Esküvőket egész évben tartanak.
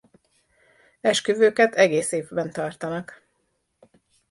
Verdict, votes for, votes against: accepted, 2, 0